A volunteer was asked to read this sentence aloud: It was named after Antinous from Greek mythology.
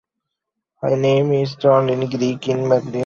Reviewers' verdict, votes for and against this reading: rejected, 0, 2